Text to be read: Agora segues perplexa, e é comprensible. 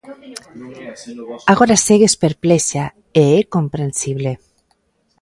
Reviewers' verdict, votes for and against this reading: rejected, 0, 2